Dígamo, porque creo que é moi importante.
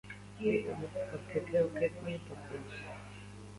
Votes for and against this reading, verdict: 0, 2, rejected